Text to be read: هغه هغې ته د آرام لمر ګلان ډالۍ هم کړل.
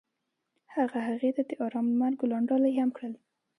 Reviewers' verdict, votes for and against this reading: accepted, 2, 0